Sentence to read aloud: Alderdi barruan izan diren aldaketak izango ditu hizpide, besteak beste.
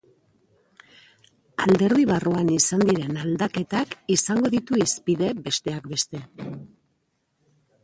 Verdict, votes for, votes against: rejected, 0, 2